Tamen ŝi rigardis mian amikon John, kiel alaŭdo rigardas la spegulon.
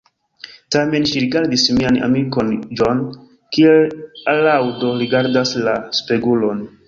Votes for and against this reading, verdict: 2, 0, accepted